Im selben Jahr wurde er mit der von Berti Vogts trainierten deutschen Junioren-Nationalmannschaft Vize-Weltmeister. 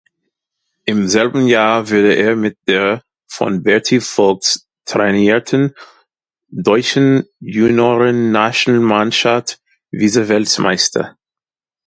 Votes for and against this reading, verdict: 0, 2, rejected